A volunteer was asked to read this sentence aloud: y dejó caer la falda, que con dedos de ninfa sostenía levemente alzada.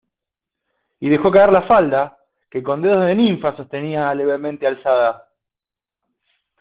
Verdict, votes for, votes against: accepted, 2, 0